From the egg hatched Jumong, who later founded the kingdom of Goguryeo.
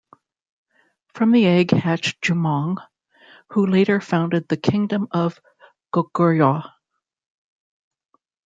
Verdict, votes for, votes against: accepted, 2, 0